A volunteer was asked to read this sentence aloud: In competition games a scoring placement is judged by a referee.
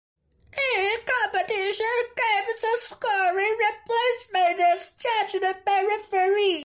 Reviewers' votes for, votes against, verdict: 0, 2, rejected